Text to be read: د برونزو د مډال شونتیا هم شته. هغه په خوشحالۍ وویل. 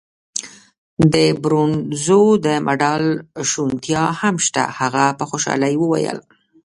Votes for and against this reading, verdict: 1, 2, rejected